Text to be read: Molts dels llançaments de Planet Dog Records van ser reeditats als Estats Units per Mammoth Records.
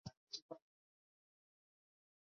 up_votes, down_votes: 0, 3